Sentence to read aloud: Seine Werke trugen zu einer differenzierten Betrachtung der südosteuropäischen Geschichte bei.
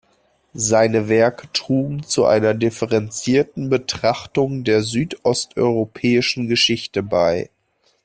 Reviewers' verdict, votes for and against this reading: accepted, 2, 0